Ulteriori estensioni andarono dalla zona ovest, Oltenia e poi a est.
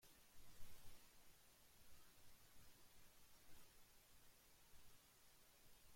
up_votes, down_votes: 0, 2